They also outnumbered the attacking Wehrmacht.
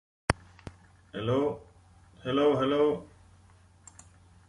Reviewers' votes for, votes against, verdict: 0, 2, rejected